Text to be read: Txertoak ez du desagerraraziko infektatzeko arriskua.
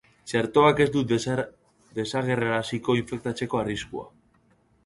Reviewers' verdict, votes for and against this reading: rejected, 0, 3